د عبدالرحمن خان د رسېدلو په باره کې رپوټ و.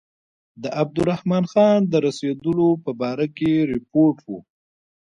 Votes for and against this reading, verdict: 2, 1, accepted